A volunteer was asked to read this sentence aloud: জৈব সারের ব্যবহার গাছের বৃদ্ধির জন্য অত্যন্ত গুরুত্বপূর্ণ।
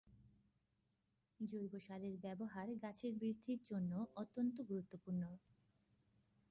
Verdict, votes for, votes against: rejected, 0, 2